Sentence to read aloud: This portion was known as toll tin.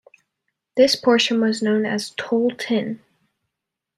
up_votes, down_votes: 2, 0